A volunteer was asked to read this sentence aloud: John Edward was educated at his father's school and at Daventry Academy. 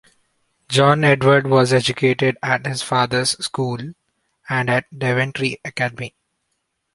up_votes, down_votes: 3, 0